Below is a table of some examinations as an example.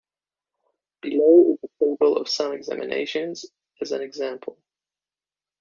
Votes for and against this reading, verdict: 2, 1, accepted